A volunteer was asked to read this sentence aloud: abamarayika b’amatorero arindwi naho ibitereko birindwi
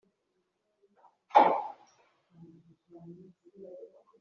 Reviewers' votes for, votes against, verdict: 0, 2, rejected